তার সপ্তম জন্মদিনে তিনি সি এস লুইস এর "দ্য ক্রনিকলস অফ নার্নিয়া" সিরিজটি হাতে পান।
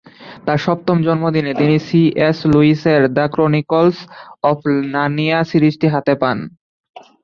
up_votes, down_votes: 0, 2